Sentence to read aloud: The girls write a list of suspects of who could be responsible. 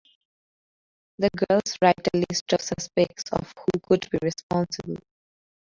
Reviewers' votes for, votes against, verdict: 2, 0, accepted